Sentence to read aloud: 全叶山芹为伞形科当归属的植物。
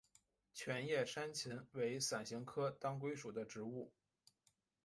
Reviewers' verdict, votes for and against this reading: accepted, 3, 1